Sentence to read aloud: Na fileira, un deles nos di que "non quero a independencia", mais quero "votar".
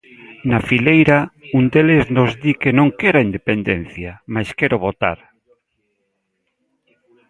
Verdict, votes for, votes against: accepted, 2, 1